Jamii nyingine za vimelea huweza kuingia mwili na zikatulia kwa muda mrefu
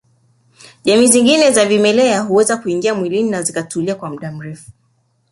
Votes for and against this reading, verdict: 4, 2, accepted